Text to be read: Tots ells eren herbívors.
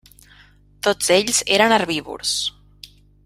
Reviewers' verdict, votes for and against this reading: accepted, 3, 0